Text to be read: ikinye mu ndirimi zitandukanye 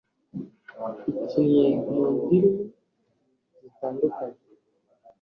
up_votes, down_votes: 2, 0